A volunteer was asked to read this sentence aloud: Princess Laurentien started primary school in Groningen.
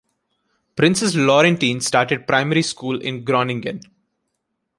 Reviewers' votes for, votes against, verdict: 2, 0, accepted